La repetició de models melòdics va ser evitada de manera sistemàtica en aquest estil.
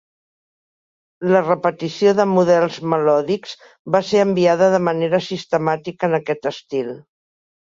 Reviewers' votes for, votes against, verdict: 0, 2, rejected